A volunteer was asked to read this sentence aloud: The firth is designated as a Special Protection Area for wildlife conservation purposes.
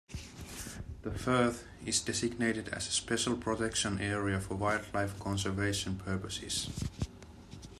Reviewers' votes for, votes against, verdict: 2, 0, accepted